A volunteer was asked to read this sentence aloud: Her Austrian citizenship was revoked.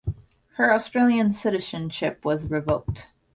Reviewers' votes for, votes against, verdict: 1, 2, rejected